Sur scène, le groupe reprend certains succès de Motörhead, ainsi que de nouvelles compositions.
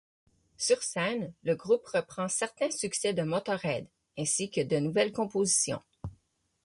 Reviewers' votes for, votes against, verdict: 6, 0, accepted